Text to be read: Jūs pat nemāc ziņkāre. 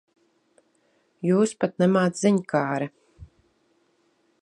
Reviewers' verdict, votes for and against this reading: accepted, 2, 0